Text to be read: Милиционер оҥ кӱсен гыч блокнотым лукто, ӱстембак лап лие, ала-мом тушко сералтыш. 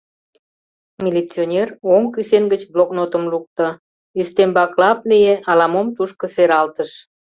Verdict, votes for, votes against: accepted, 2, 0